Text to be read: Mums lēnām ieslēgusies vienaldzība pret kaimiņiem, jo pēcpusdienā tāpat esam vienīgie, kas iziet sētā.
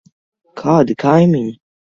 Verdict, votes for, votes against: rejected, 0, 2